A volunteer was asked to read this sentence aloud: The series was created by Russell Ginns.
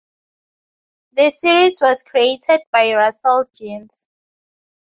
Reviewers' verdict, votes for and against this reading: accepted, 4, 0